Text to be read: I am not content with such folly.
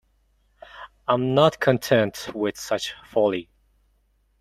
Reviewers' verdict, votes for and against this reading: rejected, 2, 3